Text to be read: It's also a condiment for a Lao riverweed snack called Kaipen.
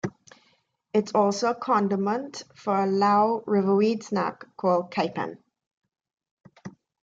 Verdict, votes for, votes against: rejected, 0, 2